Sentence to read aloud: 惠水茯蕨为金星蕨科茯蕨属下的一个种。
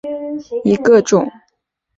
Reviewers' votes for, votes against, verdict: 0, 2, rejected